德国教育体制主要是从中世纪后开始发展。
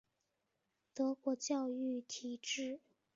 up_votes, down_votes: 1, 2